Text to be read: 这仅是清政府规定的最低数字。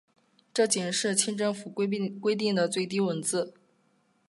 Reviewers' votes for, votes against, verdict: 2, 0, accepted